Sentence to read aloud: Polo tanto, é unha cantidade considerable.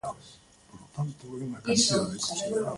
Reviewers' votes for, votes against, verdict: 1, 2, rejected